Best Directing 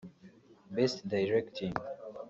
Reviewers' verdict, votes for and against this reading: rejected, 1, 2